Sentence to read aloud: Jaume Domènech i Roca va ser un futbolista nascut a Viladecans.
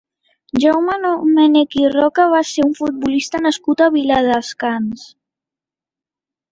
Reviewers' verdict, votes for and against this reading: rejected, 0, 2